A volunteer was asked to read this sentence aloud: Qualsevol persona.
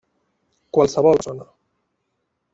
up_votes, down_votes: 0, 2